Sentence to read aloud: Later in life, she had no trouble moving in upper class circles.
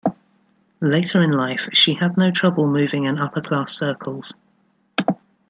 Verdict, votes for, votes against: accepted, 2, 0